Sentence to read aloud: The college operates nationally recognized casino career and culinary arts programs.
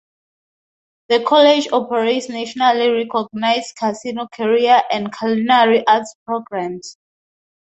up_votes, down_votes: 2, 0